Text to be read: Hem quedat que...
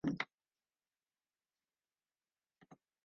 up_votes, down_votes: 0, 2